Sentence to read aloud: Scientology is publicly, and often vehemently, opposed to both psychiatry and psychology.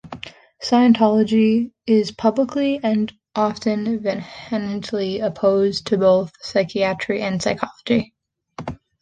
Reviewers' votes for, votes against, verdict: 0, 2, rejected